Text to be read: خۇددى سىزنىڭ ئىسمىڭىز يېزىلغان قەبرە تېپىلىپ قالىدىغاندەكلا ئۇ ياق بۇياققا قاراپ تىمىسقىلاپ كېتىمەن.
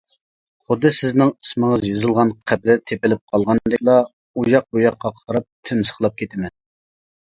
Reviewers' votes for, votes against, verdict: 0, 2, rejected